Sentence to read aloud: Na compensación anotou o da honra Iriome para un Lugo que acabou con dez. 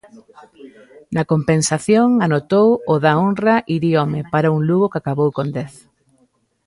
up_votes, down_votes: 2, 0